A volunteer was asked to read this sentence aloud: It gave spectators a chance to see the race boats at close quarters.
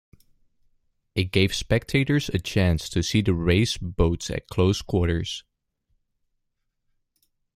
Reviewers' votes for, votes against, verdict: 2, 0, accepted